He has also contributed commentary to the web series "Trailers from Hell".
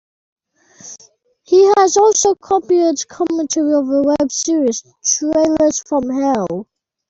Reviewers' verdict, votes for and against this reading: rejected, 1, 2